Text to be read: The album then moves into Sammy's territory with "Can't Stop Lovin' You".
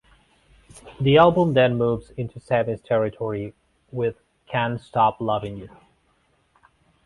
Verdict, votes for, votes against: accepted, 2, 0